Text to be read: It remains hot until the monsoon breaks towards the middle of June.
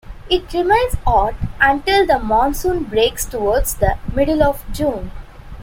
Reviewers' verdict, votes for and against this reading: accepted, 2, 0